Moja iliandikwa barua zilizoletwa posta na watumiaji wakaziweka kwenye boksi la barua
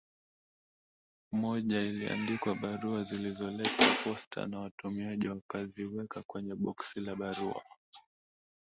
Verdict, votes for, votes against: rejected, 1, 2